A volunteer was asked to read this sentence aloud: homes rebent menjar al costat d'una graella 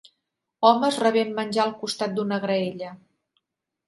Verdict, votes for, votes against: accepted, 4, 0